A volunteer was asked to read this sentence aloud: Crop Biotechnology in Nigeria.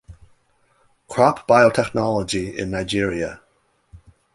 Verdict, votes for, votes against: accepted, 2, 0